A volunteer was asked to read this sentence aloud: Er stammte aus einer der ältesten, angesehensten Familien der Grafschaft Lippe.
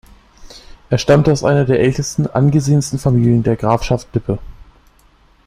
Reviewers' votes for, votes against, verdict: 3, 0, accepted